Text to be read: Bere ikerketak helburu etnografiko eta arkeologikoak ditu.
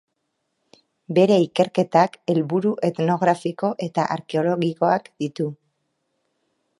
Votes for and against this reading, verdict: 3, 0, accepted